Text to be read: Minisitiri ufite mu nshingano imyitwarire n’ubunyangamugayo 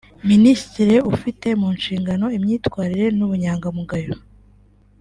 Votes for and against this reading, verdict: 2, 0, accepted